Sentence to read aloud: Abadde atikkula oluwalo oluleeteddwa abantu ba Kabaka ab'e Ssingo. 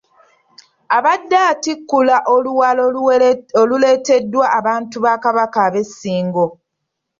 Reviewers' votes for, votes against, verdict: 2, 0, accepted